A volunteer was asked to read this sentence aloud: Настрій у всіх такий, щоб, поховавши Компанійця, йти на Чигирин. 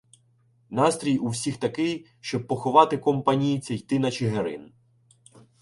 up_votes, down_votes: 1, 2